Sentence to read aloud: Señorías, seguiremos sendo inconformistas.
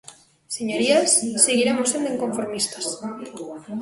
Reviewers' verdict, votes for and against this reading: rejected, 0, 2